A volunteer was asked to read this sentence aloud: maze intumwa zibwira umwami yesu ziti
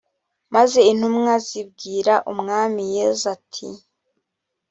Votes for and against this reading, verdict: 1, 2, rejected